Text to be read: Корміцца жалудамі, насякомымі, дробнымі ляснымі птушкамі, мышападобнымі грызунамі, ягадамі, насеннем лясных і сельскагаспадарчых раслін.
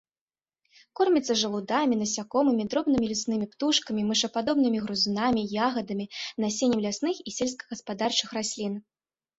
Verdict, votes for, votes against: accepted, 3, 0